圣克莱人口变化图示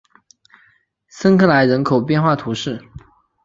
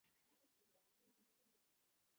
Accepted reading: first